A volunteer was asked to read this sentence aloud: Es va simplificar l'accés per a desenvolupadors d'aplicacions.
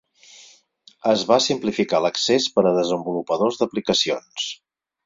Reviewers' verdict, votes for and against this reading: accepted, 6, 0